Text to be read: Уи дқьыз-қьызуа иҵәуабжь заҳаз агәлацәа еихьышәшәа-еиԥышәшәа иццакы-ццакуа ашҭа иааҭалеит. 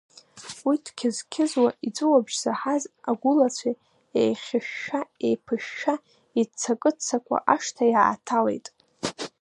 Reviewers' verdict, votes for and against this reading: accepted, 2, 1